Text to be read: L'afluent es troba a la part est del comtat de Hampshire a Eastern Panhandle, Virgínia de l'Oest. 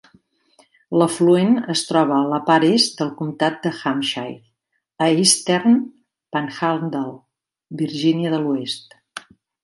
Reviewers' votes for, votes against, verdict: 2, 0, accepted